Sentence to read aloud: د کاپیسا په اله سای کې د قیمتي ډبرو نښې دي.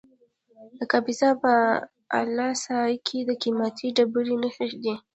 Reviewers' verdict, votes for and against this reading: accepted, 2, 0